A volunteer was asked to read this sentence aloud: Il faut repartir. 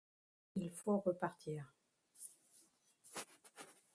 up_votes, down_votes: 1, 2